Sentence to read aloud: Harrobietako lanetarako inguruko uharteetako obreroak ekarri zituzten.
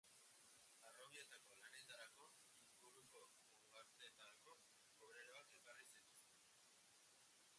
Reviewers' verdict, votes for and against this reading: rejected, 0, 2